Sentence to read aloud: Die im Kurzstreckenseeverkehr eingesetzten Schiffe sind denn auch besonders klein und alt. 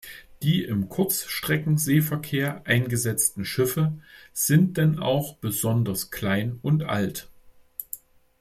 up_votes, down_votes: 2, 0